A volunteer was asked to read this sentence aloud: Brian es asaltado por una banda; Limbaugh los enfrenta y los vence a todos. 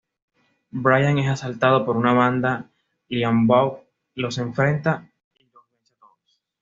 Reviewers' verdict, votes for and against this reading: rejected, 0, 2